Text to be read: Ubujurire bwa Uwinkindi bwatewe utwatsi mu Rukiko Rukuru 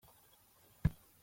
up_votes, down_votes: 0, 2